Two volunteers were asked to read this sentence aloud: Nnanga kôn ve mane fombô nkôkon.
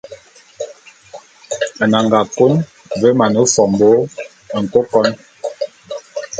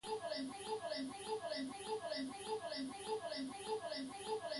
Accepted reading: first